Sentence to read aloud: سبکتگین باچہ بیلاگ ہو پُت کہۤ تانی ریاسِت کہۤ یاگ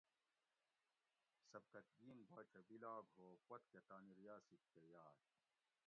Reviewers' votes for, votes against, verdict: 0, 2, rejected